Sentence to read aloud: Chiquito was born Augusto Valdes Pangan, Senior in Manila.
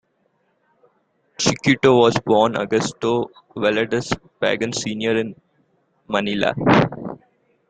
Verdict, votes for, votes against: accepted, 2, 0